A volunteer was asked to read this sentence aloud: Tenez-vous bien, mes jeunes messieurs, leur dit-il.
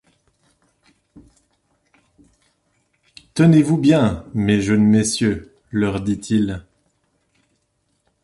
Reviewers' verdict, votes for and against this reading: accepted, 2, 0